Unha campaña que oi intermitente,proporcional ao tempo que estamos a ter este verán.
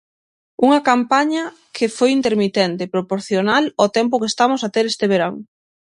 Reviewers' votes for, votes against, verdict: 0, 3, rejected